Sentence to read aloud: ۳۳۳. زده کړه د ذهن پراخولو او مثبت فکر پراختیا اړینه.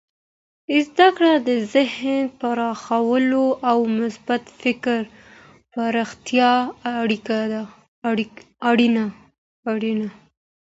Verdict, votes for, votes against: rejected, 0, 2